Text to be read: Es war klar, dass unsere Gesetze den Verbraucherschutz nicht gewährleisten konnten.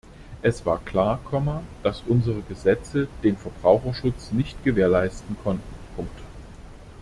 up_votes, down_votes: 0, 2